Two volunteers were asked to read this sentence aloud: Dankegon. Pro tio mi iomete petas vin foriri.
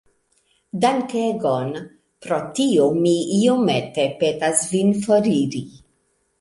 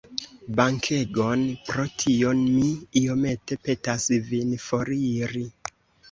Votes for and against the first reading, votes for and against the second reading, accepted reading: 2, 0, 1, 2, first